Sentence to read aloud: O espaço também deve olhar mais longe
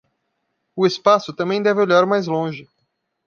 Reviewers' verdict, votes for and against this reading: accepted, 2, 0